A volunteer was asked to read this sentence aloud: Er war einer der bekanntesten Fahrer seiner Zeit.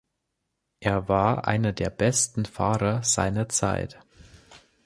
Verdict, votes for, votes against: rejected, 0, 2